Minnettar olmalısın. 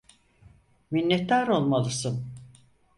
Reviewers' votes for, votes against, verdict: 4, 0, accepted